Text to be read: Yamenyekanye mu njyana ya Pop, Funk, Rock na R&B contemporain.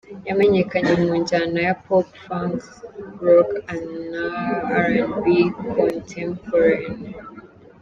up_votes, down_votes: 2, 0